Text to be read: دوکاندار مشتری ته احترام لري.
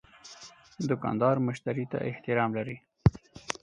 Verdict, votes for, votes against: accepted, 4, 0